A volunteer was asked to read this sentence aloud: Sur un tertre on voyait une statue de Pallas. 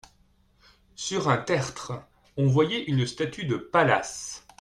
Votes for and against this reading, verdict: 2, 0, accepted